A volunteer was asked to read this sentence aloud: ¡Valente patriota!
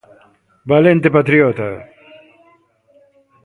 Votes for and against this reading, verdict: 1, 2, rejected